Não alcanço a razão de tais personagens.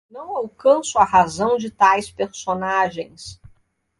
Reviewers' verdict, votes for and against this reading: accepted, 2, 0